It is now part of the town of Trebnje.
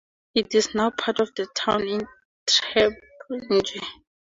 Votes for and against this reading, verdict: 0, 4, rejected